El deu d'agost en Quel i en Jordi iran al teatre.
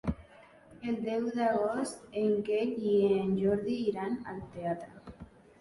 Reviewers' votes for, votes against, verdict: 1, 2, rejected